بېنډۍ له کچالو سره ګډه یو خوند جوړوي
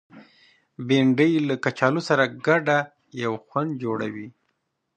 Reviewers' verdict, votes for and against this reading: accepted, 2, 0